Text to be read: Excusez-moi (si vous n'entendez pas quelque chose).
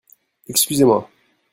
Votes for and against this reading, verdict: 1, 2, rejected